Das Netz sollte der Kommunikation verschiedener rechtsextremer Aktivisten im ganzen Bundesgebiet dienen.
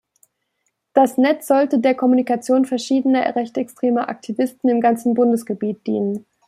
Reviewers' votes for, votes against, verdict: 2, 0, accepted